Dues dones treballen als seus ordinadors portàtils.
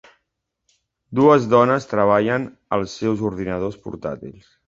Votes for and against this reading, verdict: 2, 0, accepted